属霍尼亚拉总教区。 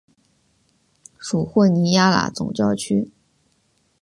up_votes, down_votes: 5, 1